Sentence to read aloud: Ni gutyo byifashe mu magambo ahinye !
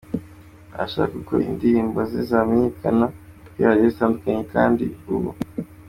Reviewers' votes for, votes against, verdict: 0, 2, rejected